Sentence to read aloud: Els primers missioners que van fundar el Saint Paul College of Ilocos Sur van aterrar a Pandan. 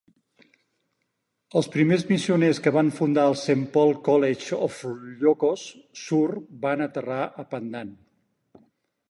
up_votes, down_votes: 2, 4